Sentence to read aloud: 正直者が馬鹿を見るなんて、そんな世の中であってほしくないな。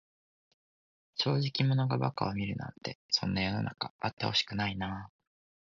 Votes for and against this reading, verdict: 1, 2, rejected